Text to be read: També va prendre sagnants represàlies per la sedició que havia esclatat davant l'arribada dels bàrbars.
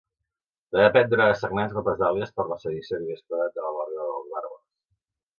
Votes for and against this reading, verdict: 0, 2, rejected